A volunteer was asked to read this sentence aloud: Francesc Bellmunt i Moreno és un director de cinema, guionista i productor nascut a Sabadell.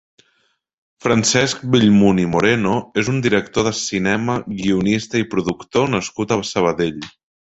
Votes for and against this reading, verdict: 2, 3, rejected